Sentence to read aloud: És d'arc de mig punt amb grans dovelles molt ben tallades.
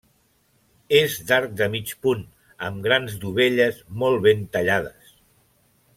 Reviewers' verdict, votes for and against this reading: accepted, 2, 0